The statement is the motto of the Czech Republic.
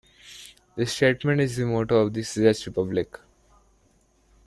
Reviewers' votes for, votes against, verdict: 1, 2, rejected